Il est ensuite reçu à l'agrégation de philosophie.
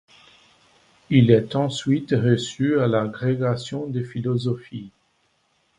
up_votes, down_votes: 0, 2